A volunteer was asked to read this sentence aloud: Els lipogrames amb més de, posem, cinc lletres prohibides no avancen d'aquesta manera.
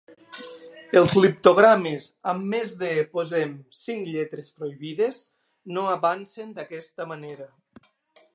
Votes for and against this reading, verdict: 0, 2, rejected